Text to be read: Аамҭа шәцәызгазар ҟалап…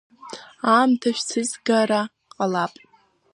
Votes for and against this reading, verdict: 0, 2, rejected